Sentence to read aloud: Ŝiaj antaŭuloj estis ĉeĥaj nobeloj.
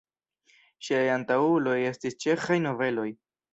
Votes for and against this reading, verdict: 1, 2, rejected